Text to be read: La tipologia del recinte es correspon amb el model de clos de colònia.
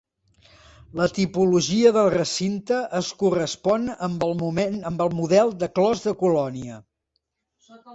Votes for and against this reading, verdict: 0, 2, rejected